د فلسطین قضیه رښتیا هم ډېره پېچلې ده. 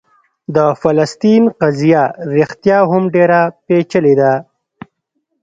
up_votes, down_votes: 2, 1